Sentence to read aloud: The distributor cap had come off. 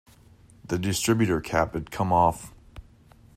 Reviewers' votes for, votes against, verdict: 2, 0, accepted